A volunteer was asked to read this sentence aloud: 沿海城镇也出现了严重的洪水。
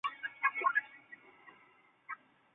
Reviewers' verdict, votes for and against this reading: rejected, 0, 3